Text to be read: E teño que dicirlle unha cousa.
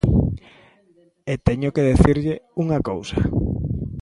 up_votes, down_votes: 0, 2